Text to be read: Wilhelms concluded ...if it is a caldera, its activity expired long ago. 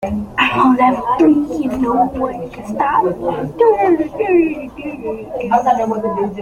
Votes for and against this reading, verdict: 0, 2, rejected